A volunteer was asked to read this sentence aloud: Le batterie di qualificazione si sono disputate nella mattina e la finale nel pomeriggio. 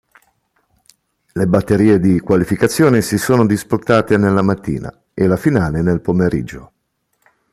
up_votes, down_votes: 2, 0